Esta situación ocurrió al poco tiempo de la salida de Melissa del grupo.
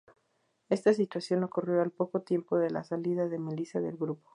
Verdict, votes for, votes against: accepted, 2, 0